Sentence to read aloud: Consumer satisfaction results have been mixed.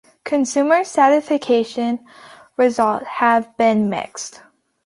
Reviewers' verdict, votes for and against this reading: rejected, 1, 2